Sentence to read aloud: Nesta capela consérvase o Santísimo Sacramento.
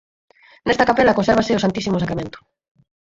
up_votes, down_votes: 0, 4